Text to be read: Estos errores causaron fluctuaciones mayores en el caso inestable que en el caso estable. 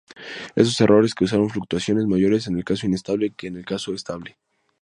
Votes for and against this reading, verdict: 2, 4, rejected